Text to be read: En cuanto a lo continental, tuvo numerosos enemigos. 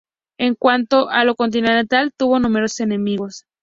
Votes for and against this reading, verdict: 0, 2, rejected